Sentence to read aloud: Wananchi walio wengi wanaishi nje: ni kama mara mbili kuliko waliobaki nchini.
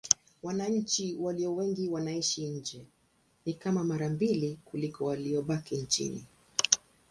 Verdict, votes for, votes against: accepted, 2, 0